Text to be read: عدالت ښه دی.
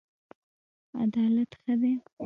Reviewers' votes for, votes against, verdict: 0, 2, rejected